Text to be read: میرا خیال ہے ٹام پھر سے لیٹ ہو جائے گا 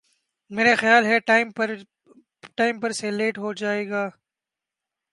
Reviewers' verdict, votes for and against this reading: rejected, 1, 3